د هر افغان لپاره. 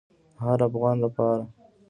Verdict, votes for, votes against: rejected, 1, 2